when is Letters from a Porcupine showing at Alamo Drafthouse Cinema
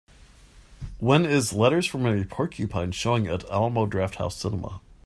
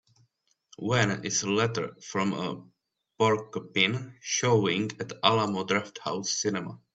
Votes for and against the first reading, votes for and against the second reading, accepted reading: 2, 0, 1, 2, first